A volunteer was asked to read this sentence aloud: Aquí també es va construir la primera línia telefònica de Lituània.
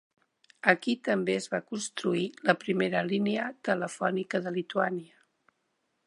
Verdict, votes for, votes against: accepted, 3, 0